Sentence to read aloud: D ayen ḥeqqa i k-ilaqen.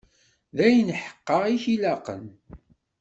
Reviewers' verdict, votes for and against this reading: accepted, 2, 0